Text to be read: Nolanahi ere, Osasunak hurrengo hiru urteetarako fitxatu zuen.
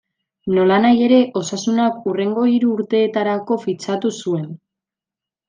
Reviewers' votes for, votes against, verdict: 2, 1, accepted